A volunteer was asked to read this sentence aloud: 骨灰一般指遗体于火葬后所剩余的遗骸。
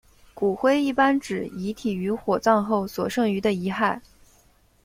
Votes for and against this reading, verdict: 1, 2, rejected